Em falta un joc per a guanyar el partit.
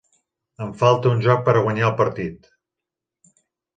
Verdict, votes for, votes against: accepted, 3, 0